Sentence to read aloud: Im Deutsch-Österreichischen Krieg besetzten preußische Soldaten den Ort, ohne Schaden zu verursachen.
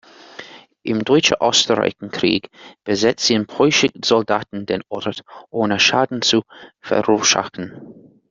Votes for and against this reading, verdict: 0, 2, rejected